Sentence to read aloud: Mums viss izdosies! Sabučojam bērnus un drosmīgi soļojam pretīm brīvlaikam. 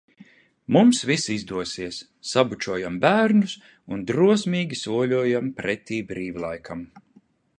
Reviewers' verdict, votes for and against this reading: rejected, 1, 2